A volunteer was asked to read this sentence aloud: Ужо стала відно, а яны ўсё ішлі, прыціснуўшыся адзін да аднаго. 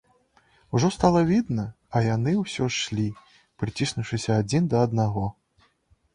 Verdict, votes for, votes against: rejected, 1, 2